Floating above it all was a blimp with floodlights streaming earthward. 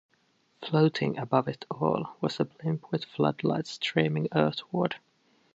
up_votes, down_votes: 1, 2